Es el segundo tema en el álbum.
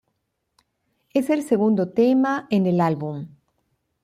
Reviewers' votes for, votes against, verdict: 2, 0, accepted